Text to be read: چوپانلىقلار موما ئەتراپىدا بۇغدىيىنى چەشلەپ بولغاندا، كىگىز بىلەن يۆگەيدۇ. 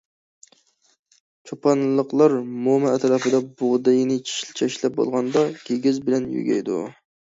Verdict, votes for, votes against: rejected, 0, 2